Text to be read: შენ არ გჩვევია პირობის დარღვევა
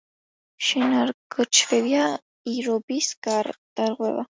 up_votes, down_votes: 0, 2